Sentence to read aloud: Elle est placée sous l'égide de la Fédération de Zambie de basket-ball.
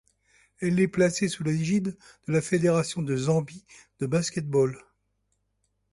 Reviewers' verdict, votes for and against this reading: rejected, 1, 2